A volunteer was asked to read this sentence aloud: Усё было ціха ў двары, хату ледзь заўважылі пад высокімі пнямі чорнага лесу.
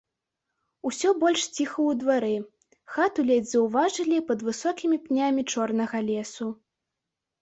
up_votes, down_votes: 0, 2